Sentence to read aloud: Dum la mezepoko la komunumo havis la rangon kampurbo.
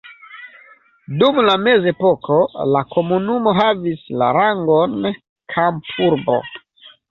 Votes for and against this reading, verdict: 2, 1, accepted